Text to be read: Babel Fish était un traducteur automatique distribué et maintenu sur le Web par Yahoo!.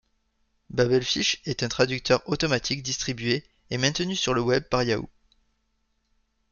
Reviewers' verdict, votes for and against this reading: rejected, 0, 2